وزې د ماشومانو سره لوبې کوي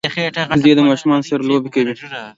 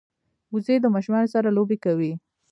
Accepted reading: first